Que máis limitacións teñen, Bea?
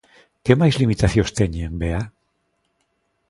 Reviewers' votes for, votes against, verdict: 2, 0, accepted